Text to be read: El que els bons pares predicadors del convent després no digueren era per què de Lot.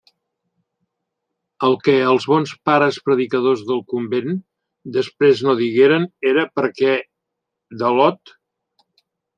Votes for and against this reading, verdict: 1, 2, rejected